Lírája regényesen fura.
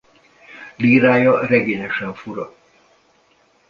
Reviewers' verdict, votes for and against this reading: accepted, 2, 0